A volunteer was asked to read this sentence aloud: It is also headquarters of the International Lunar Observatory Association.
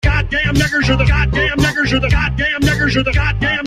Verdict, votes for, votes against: rejected, 0, 2